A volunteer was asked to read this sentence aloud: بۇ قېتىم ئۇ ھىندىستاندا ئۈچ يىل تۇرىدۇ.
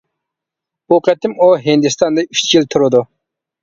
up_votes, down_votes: 2, 0